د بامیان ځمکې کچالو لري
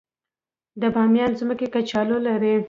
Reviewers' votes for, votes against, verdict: 2, 0, accepted